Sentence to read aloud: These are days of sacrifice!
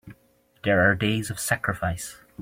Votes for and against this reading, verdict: 0, 2, rejected